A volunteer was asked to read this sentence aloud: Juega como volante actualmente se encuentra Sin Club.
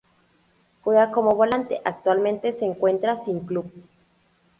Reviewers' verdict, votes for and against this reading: accepted, 4, 0